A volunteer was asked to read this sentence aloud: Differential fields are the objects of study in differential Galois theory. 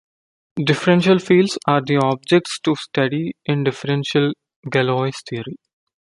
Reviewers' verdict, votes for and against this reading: rejected, 0, 2